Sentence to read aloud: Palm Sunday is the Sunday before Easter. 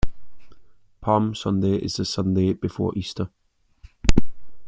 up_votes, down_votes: 2, 0